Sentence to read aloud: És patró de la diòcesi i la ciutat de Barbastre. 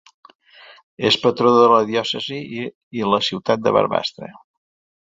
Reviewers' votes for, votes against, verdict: 1, 2, rejected